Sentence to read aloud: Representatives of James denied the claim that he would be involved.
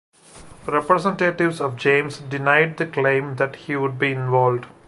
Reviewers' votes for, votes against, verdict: 2, 1, accepted